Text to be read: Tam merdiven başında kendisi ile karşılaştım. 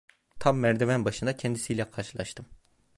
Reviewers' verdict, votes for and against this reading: accepted, 2, 0